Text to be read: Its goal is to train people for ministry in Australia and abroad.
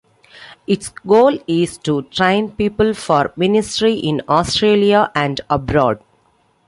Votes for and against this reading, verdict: 2, 0, accepted